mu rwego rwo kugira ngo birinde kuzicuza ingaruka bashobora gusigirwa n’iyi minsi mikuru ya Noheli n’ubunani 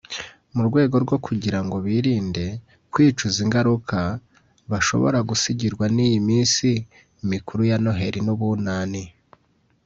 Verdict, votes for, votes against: rejected, 1, 2